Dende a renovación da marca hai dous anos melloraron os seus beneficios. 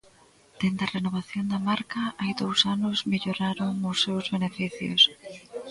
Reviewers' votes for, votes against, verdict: 2, 0, accepted